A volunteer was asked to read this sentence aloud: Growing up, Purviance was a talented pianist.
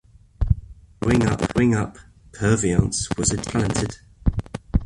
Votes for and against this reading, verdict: 0, 2, rejected